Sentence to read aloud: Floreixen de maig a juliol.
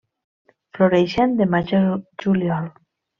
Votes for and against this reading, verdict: 1, 2, rejected